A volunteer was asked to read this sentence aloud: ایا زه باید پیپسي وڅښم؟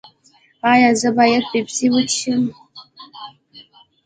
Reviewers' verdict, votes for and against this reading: accepted, 2, 0